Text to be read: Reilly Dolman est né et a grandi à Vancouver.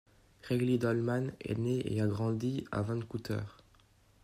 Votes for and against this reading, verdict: 0, 2, rejected